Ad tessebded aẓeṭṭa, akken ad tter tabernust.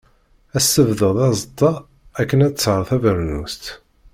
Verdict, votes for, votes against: rejected, 1, 2